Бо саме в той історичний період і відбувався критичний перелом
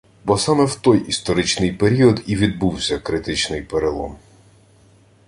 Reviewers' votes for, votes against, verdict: 1, 2, rejected